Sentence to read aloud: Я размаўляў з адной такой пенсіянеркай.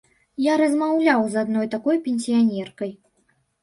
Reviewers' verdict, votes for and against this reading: accepted, 3, 0